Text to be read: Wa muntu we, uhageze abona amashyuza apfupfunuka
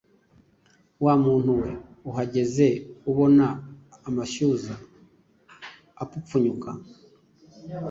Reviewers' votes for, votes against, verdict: 1, 2, rejected